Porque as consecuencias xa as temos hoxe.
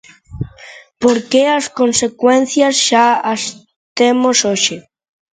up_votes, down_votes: 1, 2